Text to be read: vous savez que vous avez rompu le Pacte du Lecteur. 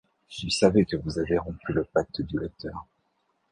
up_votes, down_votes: 0, 2